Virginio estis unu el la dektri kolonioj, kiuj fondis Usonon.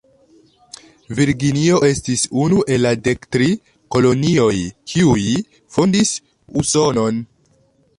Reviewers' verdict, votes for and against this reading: rejected, 0, 2